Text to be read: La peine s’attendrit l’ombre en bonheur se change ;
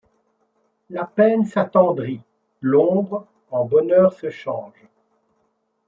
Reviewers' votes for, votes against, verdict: 2, 0, accepted